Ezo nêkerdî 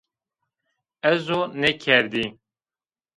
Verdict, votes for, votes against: rejected, 0, 2